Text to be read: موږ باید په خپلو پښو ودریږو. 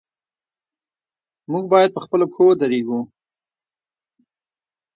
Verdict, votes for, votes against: rejected, 1, 2